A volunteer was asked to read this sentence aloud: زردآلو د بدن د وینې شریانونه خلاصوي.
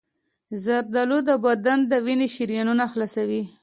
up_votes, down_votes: 2, 0